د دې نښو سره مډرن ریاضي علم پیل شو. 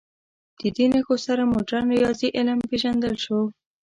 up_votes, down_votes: 1, 2